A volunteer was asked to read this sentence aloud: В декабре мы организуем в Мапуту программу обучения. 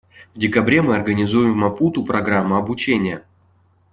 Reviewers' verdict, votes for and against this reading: accepted, 2, 0